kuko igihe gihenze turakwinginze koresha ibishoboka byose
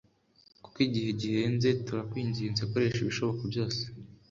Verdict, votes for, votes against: accepted, 2, 0